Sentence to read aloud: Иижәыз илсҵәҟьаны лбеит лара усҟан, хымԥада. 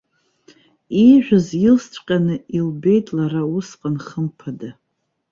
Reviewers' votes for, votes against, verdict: 1, 2, rejected